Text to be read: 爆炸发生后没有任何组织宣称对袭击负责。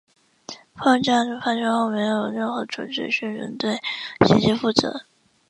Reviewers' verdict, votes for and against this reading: accepted, 3, 0